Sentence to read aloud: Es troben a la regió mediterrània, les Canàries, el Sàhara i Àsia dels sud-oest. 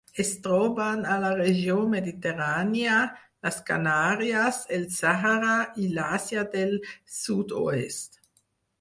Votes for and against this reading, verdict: 2, 4, rejected